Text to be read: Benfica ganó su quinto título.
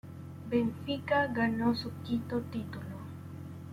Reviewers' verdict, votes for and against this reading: rejected, 1, 2